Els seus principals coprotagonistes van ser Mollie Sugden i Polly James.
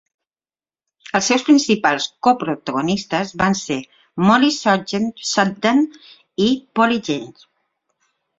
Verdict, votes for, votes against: rejected, 0, 2